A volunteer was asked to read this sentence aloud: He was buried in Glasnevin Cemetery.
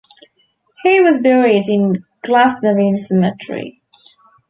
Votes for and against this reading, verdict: 2, 1, accepted